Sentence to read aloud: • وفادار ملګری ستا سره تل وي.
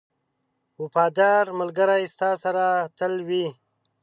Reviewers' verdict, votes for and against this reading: accepted, 2, 0